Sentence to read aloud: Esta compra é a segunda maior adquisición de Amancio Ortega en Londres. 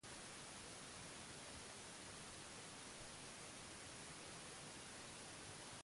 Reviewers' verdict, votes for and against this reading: rejected, 0, 2